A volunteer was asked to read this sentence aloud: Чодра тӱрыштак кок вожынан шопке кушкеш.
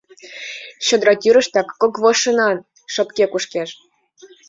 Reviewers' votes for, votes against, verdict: 2, 1, accepted